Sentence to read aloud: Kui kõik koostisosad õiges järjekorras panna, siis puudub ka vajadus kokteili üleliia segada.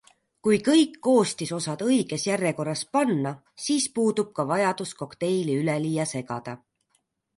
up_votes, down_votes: 2, 0